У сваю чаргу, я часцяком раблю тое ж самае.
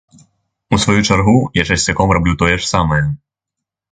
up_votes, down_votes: 3, 0